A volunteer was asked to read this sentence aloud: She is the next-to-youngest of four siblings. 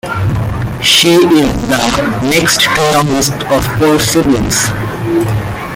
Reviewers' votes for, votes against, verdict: 0, 2, rejected